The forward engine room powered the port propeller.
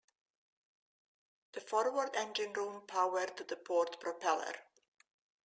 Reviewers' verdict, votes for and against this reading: accepted, 2, 0